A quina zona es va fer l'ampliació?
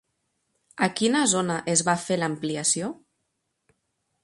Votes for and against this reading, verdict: 3, 0, accepted